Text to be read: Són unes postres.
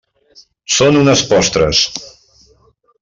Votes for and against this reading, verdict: 3, 0, accepted